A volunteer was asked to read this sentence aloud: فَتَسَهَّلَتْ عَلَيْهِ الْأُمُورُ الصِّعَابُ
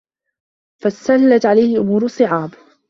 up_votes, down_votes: 0, 2